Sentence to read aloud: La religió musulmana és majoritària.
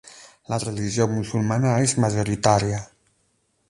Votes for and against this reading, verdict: 8, 0, accepted